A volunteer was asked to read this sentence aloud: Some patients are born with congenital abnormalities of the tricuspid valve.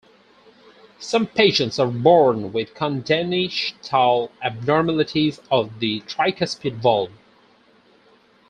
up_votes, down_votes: 0, 4